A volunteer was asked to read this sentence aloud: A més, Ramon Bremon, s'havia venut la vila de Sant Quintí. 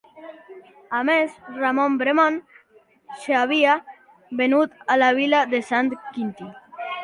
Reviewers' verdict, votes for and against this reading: rejected, 1, 3